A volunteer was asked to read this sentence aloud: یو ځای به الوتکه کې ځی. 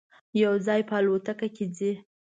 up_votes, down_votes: 2, 0